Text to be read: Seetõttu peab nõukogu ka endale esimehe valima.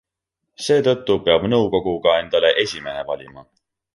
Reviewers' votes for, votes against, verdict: 2, 0, accepted